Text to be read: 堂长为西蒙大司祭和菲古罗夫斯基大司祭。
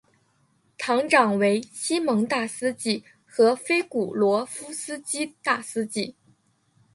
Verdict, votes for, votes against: accepted, 3, 0